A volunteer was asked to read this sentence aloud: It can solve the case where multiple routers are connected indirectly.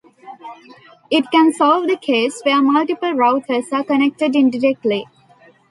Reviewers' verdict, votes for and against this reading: accepted, 2, 0